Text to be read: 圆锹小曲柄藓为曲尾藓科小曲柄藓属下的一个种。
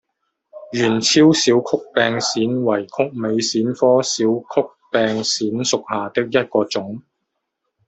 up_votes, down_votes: 1, 2